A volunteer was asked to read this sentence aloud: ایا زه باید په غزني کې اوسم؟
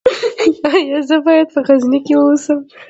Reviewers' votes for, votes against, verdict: 1, 2, rejected